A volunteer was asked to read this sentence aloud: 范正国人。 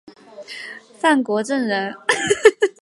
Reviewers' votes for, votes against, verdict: 0, 2, rejected